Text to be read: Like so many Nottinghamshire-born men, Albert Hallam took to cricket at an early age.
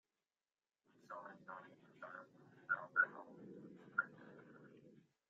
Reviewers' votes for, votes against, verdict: 0, 2, rejected